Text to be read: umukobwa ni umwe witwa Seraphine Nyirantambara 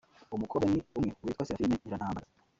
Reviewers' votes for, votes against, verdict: 0, 2, rejected